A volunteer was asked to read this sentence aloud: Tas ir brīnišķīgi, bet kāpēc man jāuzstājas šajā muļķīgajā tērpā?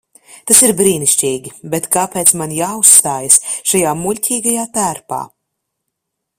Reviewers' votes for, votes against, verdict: 2, 0, accepted